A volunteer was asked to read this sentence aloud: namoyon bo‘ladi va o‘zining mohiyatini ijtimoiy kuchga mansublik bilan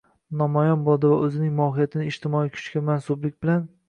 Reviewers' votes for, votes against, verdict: 0, 2, rejected